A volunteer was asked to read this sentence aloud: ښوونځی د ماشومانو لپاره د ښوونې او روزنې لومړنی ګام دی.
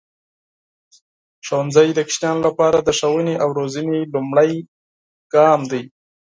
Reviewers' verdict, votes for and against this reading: accepted, 4, 0